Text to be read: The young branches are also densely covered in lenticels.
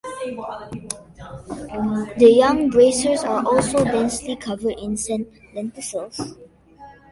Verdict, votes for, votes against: rejected, 0, 3